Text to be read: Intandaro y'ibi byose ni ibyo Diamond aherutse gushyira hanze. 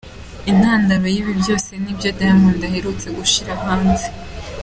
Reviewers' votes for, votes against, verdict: 2, 1, accepted